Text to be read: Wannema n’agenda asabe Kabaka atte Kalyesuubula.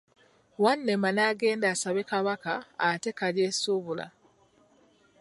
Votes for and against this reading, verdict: 1, 2, rejected